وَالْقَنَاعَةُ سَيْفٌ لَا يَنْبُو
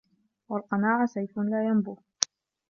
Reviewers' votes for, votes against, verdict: 2, 3, rejected